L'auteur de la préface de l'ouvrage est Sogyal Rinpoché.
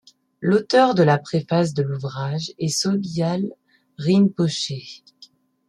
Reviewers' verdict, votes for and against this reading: accepted, 2, 0